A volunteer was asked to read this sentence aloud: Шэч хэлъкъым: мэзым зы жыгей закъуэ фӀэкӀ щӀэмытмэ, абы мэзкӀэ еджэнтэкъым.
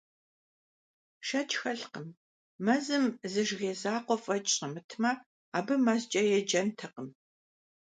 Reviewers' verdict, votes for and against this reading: accepted, 2, 0